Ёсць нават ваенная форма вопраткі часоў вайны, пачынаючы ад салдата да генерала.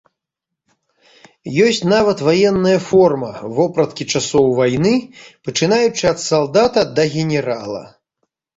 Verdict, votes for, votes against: accepted, 2, 0